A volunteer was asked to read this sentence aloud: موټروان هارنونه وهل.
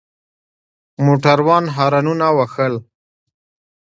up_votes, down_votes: 2, 0